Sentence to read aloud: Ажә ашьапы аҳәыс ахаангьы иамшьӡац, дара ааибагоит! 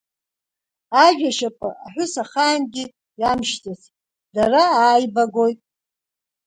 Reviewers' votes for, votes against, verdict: 3, 0, accepted